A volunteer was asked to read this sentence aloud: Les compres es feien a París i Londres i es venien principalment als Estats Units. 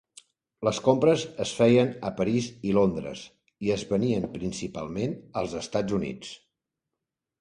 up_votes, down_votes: 4, 0